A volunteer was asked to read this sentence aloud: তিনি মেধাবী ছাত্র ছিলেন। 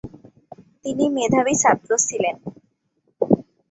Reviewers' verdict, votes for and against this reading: accepted, 2, 0